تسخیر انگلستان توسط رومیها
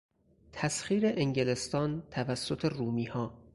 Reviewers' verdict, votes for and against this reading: accepted, 4, 0